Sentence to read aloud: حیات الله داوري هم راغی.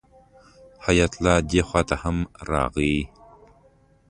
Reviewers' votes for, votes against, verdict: 1, 2, rejected